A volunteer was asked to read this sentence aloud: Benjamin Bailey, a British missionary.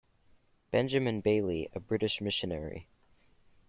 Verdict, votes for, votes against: accepted, 2, 0